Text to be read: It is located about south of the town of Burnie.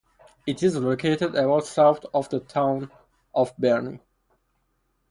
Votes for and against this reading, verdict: 4, 2, accepted